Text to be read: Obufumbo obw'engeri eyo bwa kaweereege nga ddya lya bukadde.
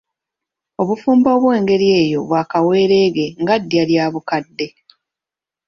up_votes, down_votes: 1, 2